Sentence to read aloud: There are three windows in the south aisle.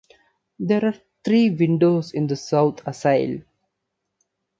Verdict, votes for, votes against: rejected, 1, 2